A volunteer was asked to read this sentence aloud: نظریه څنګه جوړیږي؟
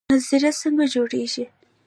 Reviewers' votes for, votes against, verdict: 2, 0, accepted